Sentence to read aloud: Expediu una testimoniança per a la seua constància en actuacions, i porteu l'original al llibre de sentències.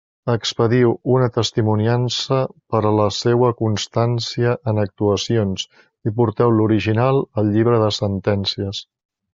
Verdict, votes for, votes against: accepted, 2, 0